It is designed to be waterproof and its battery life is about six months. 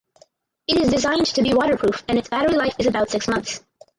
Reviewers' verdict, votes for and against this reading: rejected, 2, 2